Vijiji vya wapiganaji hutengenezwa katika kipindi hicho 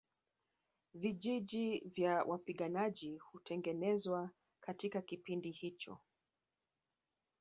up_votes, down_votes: 0, 2